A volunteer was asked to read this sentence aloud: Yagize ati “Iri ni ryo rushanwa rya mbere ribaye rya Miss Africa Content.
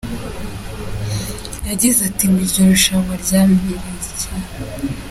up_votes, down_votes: 0, 2